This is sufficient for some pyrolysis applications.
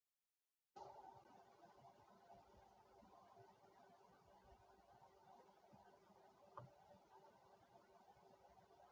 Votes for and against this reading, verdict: 0, 2, rejected